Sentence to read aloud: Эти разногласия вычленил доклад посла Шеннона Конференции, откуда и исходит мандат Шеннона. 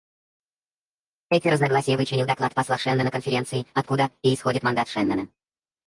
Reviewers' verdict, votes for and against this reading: rejected, 2, 4